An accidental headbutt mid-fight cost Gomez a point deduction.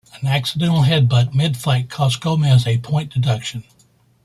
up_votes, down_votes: 2, 0